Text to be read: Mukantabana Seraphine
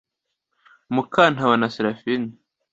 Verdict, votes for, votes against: accepted, 2, 0